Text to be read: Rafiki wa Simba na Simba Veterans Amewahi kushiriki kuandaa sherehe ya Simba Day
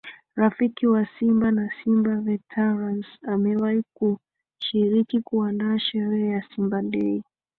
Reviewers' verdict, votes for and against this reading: accepted, 3, 0